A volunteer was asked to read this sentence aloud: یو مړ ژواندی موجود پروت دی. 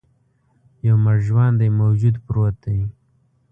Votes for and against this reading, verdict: 2, 0, accepted